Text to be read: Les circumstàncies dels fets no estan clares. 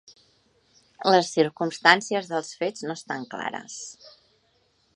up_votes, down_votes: 3, 0